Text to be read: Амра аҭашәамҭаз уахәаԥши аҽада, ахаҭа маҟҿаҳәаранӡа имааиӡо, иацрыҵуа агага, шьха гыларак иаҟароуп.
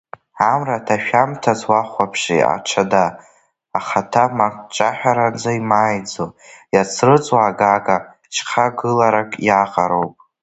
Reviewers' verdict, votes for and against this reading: rejected, 0, 2